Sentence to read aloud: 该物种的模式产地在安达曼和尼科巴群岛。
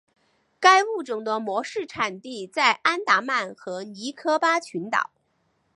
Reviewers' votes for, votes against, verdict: 3, 0, accepted